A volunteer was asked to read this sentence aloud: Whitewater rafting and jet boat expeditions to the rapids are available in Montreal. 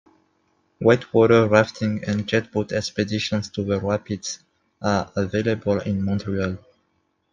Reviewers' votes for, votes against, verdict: 2, 0, accepted